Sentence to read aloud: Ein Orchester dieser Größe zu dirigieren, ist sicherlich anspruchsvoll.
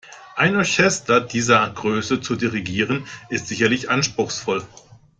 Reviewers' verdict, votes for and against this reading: rejected, 0, 2